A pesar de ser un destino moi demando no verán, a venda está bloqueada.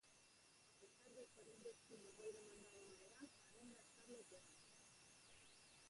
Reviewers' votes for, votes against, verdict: 0, 4, rejected